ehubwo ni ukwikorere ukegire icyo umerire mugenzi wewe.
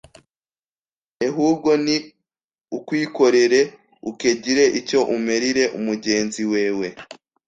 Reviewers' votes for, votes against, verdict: 1, 2, rejected